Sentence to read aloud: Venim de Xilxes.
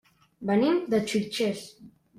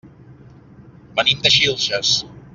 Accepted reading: second